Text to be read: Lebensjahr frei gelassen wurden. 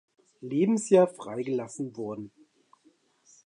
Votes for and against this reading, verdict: 2, 0, accepted